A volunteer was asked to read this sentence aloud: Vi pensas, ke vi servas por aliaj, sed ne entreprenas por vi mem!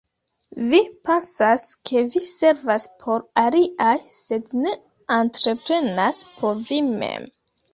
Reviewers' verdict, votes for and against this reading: rejected, 0, 2